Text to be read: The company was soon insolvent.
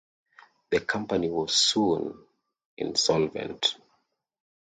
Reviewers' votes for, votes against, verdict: 2, 0, accepted